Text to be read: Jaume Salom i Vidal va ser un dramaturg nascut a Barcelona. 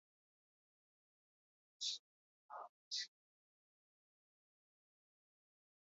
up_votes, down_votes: 2, 0